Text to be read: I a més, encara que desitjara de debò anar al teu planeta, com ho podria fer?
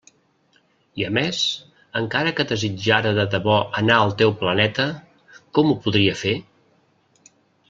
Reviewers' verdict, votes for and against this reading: rejected, 1, 2